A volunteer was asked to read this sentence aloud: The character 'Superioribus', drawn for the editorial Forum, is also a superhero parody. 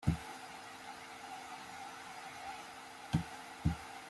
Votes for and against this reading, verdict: 0, 2, rejected